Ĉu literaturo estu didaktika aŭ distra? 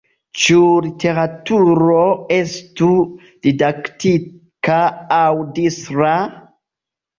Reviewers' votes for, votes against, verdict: 0, 2, rejected